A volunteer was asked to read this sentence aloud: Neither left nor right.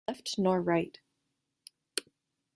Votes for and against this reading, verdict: 0, 2, rejected